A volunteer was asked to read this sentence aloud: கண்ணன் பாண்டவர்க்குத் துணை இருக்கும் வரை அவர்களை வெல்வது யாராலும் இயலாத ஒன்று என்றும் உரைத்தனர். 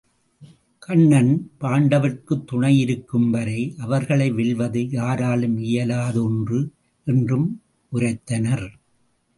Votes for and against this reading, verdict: 2, 0, accepted